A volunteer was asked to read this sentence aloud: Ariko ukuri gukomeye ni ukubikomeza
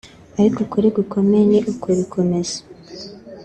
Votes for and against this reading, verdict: 2, 0, accepted